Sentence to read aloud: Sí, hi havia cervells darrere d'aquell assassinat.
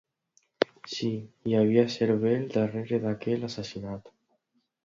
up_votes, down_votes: 2, 0